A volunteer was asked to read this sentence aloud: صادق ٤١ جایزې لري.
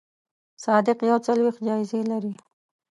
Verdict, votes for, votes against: rejected, 0, 2